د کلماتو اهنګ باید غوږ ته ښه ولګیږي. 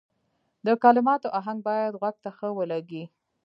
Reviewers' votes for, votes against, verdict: 1, 2, rejected